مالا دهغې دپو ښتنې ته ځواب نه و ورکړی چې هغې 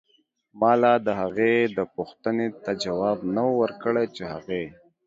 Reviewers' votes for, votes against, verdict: 1, 2, rejected